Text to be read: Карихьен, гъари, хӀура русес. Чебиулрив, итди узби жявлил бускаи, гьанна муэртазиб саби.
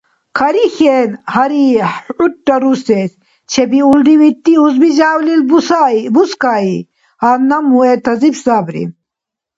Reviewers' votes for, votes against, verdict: 2, 0, accepted